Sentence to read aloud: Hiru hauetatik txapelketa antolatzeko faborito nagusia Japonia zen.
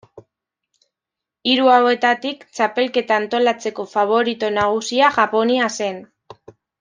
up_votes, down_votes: 1, 2